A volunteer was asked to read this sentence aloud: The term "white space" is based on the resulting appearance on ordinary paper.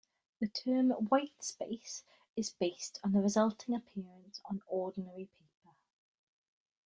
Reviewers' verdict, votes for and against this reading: accepted, 2, 1